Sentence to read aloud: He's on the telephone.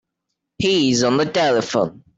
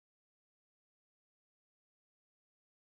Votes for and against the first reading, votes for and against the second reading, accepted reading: 3, 0, 0, 3, first